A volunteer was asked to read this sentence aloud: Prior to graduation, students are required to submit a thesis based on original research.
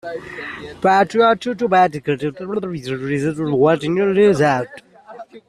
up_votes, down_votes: 0, 2